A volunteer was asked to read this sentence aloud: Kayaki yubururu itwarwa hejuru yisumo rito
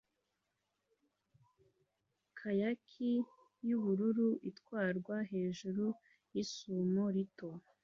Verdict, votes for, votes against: accepted, 2, 0